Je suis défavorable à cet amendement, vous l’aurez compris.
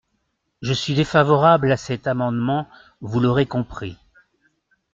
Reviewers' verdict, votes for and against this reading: accepted, 2, 0